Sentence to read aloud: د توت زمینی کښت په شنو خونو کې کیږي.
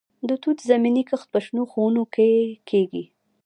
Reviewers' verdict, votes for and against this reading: rejected, 1, 2